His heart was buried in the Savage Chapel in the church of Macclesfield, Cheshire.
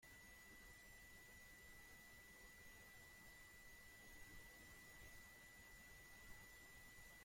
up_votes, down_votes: 0, 2